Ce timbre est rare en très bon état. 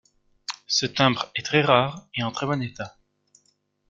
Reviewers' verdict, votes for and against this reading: rejected, 1, 2